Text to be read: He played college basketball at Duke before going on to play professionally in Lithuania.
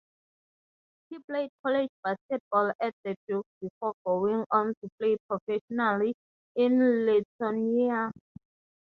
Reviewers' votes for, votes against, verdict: 0, 3, rejected